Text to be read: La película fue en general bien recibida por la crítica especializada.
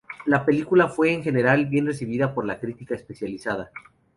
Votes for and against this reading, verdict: 0, 2, rejected